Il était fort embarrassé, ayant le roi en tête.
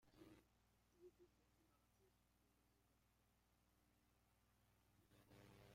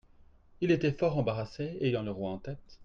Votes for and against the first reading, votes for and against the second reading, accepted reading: 0, 2, 2, 0, second